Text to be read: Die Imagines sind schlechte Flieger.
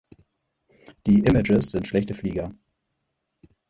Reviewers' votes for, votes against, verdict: 0, 4, rejected